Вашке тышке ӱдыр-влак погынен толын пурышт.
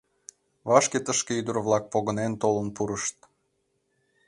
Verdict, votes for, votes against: accepted, 2, 0